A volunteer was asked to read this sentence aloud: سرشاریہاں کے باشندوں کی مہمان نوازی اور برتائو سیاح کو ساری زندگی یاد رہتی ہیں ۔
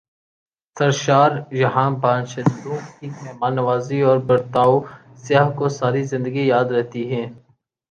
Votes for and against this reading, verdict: 4, 2, accepted